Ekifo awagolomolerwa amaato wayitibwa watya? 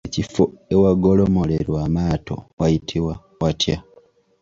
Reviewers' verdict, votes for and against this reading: accepted, 2, 0